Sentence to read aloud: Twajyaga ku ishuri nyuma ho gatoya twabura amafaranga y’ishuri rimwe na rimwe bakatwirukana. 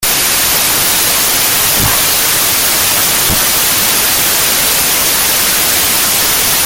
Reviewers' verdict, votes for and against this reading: rejected, 0, 2